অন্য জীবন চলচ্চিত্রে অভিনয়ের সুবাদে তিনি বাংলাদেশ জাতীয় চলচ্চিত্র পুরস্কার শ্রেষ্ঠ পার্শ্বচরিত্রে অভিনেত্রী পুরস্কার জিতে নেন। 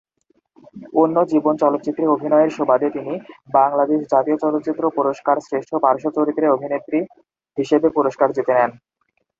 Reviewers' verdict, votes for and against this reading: rejected, 0, 2